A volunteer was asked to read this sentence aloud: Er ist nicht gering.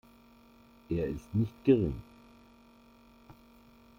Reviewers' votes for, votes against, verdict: 0, 2, rejected